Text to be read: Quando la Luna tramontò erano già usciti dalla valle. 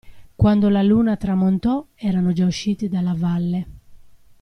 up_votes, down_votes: 2, 0